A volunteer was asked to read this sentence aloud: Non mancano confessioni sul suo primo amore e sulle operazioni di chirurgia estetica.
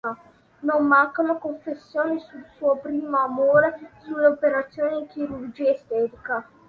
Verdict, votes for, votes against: accepted, 2, 0